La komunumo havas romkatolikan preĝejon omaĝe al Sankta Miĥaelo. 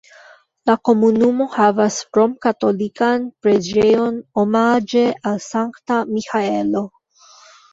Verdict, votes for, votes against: accepted, 2, 1